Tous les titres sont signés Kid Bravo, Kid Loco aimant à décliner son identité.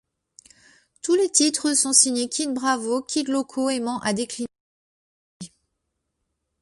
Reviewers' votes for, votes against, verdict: 0, 3, rejected